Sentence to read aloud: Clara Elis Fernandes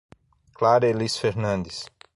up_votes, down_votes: 6, 0